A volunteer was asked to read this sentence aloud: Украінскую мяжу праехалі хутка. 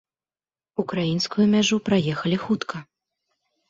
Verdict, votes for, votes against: accepted, 2, 0